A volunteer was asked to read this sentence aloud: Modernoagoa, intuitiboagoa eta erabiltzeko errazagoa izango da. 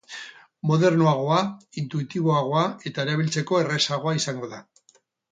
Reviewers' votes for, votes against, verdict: 2, 4, rejected